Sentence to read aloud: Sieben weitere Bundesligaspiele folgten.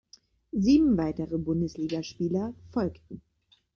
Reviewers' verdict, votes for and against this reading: rejected, 0, 5